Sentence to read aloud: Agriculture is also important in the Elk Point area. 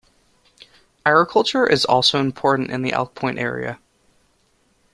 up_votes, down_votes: 2, 0